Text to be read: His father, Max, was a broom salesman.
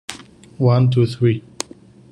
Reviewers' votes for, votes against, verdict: 0, 2, rejected